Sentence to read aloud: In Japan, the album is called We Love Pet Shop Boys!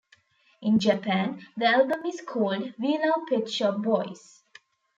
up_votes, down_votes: 1, 2